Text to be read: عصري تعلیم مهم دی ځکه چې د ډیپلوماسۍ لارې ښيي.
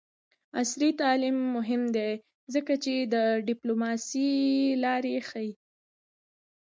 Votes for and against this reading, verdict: 1, 2, rejected